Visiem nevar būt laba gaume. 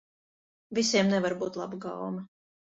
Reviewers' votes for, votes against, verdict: 2, 0, accepted